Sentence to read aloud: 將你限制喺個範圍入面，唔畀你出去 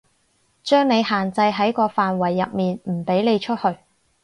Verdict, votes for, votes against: accepted, 4, 0